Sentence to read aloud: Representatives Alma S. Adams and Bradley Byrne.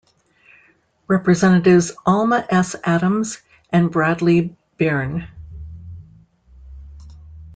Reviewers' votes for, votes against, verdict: 0, 2, rejected